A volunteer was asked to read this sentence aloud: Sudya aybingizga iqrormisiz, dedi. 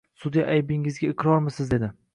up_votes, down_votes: 2, 0